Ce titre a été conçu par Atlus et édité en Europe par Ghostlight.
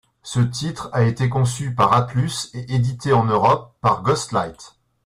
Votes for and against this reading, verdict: 2, 0, accepted